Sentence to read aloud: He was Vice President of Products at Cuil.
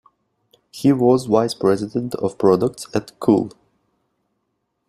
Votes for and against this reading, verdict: 2, 0, accepted